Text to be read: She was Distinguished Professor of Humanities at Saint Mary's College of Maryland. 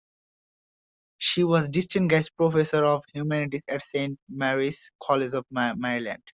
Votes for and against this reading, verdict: 0, 2, rejected